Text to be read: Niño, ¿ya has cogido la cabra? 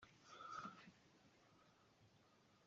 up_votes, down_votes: 0, 2